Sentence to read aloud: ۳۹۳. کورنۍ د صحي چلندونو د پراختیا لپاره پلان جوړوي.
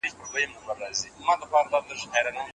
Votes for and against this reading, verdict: 0, 2, rejected